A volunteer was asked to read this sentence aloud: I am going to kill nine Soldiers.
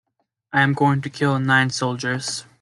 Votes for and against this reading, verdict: 2, 0, accepted